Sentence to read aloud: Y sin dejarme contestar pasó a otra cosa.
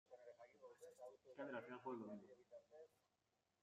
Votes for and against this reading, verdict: 0, 2, rejected